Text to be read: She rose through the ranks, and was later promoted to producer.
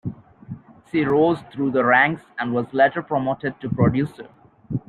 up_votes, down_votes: 1, 3